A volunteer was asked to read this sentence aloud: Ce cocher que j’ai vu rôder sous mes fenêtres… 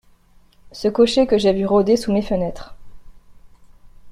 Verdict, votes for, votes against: accepted, 2, 0